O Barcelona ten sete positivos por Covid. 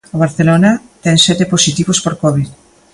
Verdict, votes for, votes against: accepted, 2, 0